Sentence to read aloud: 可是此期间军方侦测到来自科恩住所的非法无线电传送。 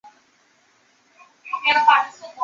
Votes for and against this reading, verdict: 1, 2, rejected